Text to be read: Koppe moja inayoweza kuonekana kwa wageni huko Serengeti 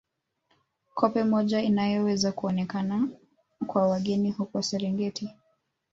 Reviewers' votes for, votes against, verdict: 1, 2, rejected